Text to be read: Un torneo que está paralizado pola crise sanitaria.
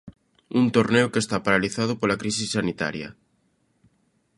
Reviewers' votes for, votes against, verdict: 2, 0, accepted